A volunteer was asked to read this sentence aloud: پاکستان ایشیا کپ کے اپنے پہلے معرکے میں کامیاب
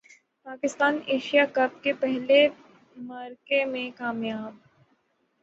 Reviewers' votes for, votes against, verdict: 0, 6, rejected